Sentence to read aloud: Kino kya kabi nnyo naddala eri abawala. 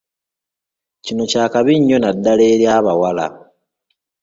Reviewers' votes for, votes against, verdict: 2, 0, accepted